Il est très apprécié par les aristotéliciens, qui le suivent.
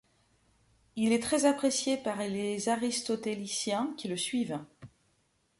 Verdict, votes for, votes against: rejected, 1, 2